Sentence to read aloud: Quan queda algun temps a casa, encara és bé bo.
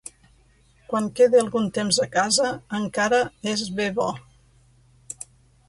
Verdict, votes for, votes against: accepted, 2, 1